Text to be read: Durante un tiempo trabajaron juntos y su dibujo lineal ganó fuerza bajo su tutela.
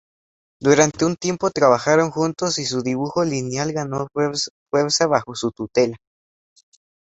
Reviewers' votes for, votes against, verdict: 0, 2, rejected